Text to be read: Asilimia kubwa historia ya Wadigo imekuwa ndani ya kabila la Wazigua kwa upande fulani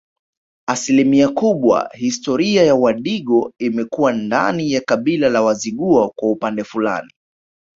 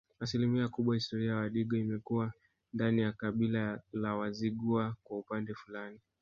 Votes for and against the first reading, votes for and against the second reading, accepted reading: 2, 1, 0, 2, first